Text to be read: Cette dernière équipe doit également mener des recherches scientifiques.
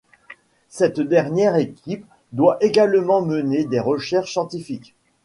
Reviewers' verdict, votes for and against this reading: accepted, 2, 0